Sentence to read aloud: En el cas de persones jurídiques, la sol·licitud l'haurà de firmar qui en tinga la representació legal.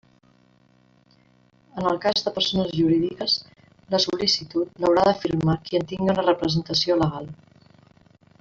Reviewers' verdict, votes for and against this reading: rejected, 1, 2